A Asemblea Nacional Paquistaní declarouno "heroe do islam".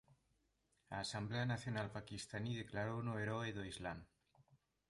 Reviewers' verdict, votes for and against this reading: accepted, 2, 0